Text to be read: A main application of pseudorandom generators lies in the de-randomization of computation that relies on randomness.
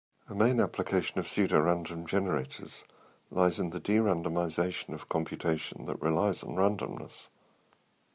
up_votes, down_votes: 2, 0